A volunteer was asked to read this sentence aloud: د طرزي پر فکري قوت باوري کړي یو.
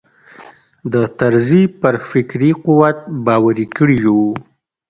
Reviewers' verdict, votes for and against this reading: rejected, 1, 2